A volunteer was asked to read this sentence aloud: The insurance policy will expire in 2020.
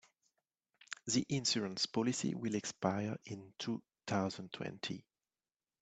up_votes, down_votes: 0, 2